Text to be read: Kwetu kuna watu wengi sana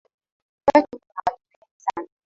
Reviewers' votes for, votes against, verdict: 0, 2, rejected